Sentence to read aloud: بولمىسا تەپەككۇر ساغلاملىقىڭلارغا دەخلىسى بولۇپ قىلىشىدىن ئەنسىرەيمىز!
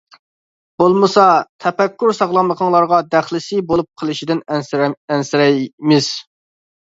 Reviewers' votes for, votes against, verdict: 0, 2, rejected